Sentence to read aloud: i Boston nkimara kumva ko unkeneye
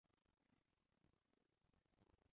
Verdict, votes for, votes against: rejected, 0, 2